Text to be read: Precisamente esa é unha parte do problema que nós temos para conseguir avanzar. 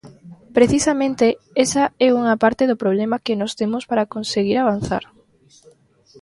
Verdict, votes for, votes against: rejected, 1, 2